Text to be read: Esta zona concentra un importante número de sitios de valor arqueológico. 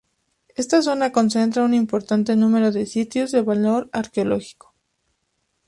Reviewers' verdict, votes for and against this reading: accepted, 2, 0